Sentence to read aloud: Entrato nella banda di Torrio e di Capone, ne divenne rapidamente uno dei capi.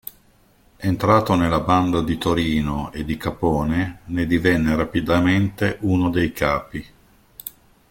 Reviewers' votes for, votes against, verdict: 0, 2, rejected